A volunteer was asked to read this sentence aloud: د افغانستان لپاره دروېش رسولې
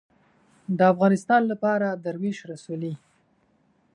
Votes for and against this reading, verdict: 2, 0, accepted